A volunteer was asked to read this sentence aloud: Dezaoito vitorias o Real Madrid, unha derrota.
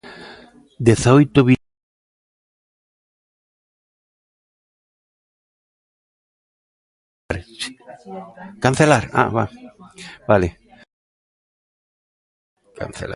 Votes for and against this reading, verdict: 0, 2, rejected